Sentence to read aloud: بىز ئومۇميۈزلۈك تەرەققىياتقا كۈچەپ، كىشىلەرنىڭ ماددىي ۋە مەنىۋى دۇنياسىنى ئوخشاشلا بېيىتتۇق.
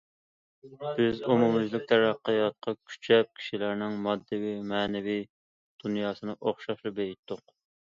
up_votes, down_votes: 1, 2